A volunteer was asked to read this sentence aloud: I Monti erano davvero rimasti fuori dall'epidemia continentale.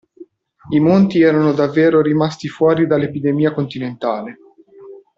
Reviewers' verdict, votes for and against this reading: accepted, 2, 0